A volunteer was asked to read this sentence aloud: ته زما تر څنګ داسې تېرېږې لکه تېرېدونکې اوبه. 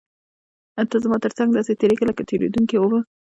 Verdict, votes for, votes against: rejected, 1, 2